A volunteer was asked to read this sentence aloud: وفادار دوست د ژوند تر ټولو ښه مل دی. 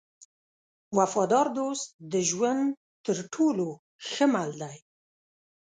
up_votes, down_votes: 2, 0